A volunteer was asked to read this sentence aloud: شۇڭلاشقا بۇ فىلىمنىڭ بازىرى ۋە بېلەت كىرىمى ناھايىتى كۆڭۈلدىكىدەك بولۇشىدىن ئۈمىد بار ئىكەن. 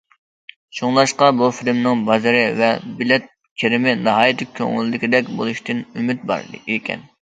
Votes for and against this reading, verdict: 2, 0, accepted